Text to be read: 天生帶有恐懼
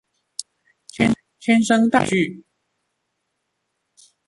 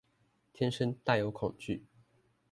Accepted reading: second